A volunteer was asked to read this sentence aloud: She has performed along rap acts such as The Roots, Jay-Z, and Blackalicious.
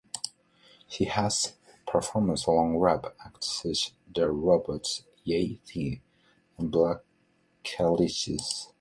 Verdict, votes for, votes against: rejected, 1, 2